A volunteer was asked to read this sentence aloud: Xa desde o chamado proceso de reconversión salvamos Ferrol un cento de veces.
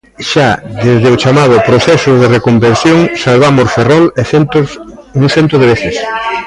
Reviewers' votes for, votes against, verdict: 1, 2, rejected